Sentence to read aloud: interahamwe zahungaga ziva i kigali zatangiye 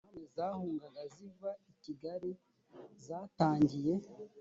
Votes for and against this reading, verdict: 2, 3, rejected